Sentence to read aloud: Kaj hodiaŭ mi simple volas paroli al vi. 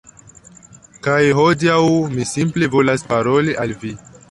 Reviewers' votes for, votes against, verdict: 1, 2, rejected